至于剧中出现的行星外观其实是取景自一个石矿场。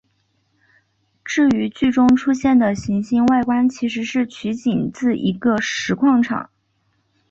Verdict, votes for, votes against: accepted, 2, 0